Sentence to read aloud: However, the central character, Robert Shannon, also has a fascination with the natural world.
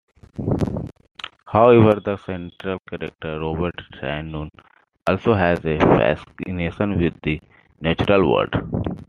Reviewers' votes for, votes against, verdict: 2, 0, accepted